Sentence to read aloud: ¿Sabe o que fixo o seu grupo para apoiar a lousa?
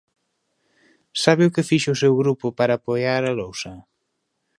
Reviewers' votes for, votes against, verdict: 2, 0, accepted